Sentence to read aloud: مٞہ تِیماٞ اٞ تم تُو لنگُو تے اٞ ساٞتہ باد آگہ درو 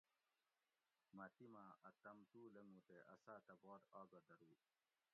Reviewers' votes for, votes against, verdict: 1, 2, rejected